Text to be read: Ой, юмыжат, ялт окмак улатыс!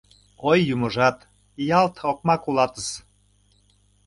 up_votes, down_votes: 2, 0